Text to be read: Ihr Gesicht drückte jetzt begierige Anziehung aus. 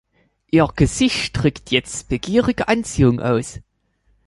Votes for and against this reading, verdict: 0, 3, rejected